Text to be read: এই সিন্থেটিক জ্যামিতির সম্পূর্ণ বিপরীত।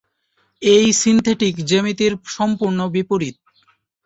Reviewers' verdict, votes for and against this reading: accepted, 4, 0